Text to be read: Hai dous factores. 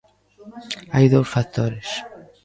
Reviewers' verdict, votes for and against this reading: rejected, 0, 2